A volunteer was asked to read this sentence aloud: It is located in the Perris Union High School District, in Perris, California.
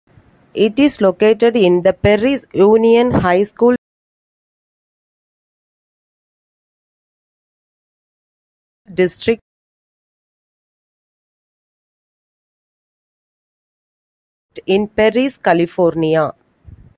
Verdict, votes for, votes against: rejected, 0, 2